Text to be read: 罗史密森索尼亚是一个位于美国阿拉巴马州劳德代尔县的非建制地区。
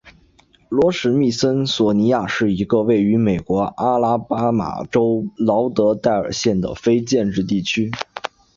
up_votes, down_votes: 2, 0